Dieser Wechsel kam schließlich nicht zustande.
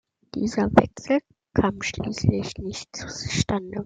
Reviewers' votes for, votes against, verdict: 2, 1, accepted